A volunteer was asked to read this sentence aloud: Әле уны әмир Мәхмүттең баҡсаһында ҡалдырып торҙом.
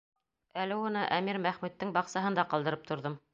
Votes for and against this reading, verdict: 2, 0, accepted